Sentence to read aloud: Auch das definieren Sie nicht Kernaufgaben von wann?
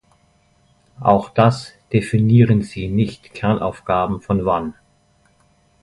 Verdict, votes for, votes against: accepted, 2, 0